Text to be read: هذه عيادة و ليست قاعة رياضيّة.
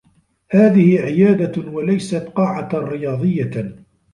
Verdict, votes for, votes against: accepted, 2, 0